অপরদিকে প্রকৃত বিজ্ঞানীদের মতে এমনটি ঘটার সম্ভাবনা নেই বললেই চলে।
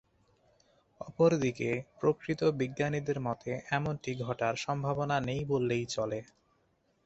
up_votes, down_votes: 2, 0